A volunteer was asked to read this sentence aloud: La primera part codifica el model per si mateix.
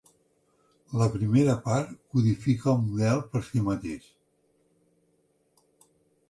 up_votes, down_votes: 4, 0